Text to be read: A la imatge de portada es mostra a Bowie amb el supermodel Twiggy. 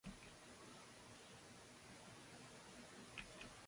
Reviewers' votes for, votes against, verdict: 0, 2, rejected